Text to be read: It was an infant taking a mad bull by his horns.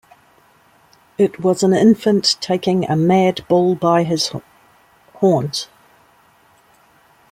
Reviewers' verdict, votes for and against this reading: accepted, 2, 0